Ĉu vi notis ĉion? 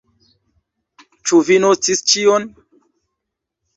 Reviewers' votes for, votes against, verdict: 2, 0, accepted